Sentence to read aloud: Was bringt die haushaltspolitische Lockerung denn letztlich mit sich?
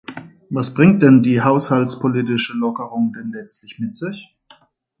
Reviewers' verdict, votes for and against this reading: rejected, 1, 2